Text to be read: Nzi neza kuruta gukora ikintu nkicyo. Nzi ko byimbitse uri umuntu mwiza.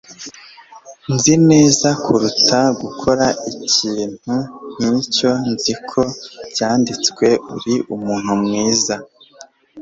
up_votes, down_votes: 1, 2